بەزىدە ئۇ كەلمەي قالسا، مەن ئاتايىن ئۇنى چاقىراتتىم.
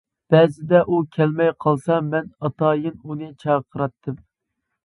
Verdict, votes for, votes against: accepted, 2, 0